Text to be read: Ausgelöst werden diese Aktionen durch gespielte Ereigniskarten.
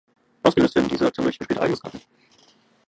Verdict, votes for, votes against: rejected, 0, 2